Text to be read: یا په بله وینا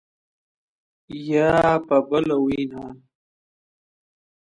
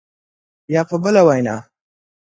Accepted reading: second